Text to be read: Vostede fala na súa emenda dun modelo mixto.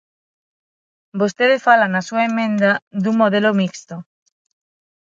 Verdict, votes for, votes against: rejected, 0, 6